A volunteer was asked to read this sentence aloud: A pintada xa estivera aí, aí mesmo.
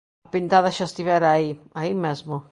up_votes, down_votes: 1, 2